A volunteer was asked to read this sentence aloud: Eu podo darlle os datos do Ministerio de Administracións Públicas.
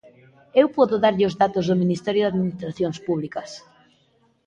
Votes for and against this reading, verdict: 2, 0, accepted